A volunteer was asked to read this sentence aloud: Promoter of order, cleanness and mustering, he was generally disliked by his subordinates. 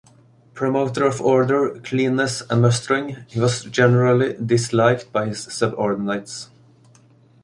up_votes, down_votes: 0, 2